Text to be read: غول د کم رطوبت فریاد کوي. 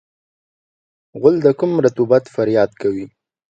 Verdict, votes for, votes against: accepted, 3, 0